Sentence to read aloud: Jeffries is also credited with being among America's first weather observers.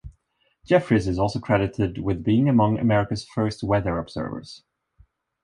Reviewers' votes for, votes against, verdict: 2, 0, accepted